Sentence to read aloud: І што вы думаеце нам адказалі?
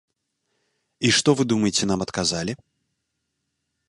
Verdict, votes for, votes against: accepted, 2, 0